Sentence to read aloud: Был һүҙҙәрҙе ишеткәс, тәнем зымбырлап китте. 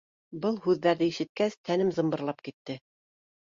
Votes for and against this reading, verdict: 2, 0, accepted